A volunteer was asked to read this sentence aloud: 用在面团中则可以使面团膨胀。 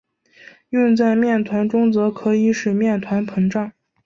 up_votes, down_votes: 3, 0